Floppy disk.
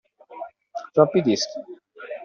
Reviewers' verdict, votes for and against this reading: accepted, 2, 0